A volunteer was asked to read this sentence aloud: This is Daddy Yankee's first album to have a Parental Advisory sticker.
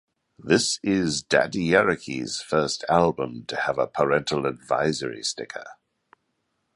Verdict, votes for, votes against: rejected, 1, 2